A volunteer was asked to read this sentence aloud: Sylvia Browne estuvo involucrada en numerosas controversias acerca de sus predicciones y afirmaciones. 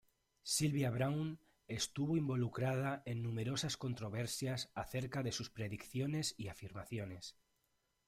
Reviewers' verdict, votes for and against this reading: accepted, 2, 0